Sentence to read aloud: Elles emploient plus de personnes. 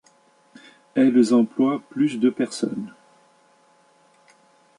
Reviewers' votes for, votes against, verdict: 2, 0, accepted